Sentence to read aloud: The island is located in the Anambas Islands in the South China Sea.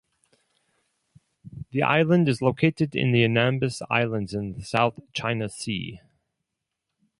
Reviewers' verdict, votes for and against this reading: rejected, 2, 2